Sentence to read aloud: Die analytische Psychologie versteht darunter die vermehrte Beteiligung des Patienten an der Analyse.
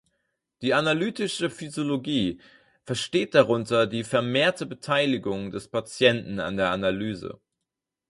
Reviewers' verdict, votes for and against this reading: rejected, 0, 4